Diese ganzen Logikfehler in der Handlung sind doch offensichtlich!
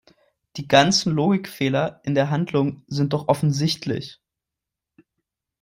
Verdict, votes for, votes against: rejected, 0, 3